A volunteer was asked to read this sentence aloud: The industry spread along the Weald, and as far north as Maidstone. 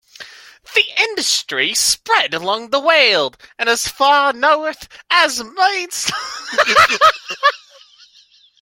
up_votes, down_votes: 0, 2